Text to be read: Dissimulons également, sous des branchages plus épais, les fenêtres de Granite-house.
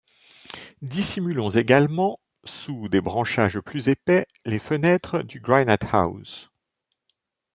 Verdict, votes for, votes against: rejected, 1, 2